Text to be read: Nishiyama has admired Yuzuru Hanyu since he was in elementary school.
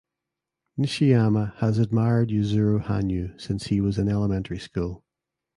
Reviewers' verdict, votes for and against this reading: accepted, 2, 0